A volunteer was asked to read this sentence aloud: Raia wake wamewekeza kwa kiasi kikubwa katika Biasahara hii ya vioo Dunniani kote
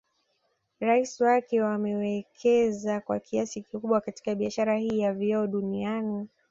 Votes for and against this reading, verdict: 1, 2, rejected